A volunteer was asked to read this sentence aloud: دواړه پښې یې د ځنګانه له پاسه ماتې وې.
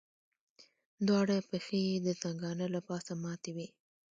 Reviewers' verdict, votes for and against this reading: rejected, 1, 2